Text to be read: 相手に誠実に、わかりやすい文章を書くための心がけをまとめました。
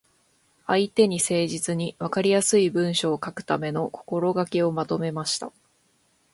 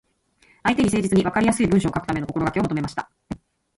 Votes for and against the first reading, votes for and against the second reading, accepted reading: 2, 1, 1, 2, first